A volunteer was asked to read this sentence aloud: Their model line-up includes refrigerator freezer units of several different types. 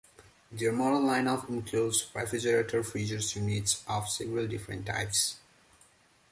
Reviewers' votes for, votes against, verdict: 0, 2, rejected